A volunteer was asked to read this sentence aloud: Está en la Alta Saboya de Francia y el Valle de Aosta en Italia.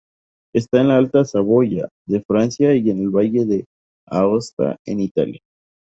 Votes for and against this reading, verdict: 2, 2, rejected